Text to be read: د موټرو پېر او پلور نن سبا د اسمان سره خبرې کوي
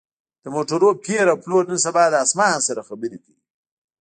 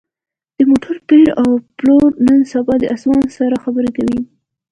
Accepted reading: second